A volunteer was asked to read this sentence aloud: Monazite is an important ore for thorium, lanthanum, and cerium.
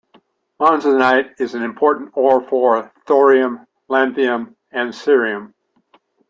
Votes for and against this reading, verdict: 1, 2, rejected